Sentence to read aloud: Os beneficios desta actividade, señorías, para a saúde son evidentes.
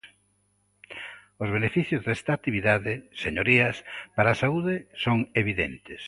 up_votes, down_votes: 2, 0